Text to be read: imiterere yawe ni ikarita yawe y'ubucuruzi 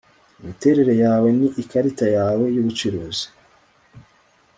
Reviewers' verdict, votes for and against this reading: rejected, 0, 2